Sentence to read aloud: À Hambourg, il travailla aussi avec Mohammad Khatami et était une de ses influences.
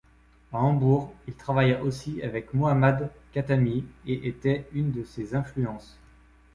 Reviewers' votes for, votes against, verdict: 2, 0, accepted